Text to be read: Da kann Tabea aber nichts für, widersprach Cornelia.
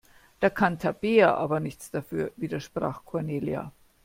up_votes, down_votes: 1, 2